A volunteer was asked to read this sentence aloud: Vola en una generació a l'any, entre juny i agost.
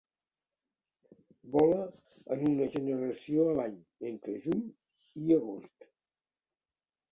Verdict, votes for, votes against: accepted, 2, 0